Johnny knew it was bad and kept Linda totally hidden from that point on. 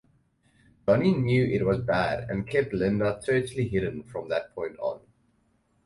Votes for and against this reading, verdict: 2, 2, rejected